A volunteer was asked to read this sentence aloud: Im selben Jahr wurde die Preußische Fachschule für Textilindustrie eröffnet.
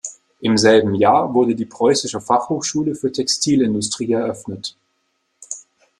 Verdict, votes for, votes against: rejected, 1, 2